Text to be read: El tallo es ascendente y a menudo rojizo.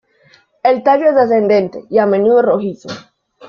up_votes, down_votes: 1, 2